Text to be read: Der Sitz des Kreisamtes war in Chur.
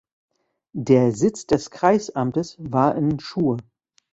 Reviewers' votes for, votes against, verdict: 0, 2, rejected